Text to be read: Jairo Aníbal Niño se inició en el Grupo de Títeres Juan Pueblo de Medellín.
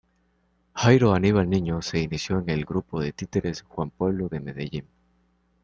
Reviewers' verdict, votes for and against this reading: accepted, 2, 0